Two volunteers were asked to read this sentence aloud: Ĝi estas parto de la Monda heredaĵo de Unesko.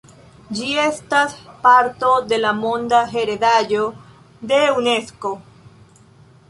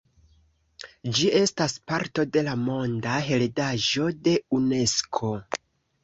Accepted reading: first